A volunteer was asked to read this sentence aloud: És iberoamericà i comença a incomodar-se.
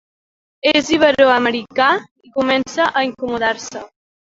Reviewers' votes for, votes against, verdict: 0, 2, rejected